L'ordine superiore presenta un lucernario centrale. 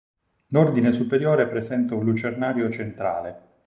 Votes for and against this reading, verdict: 6, 0, accepted